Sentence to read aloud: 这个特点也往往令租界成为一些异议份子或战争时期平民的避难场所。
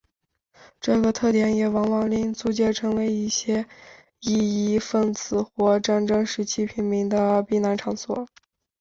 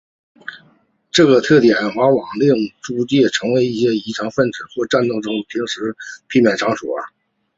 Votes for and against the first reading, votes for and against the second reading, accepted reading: 2, 0, 1, 2, first